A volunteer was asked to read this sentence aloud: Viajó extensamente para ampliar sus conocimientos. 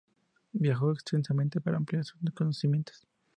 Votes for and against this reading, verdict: 0, 4, rejected